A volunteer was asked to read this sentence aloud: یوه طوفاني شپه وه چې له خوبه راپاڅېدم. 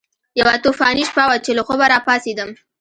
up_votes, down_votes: 2, 0